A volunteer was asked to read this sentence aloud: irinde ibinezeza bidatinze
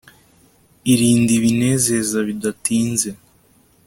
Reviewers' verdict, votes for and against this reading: accepted, 2, 1